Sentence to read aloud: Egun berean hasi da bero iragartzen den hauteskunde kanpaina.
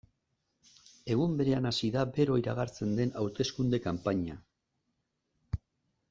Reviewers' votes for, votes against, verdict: 2, 0, accepted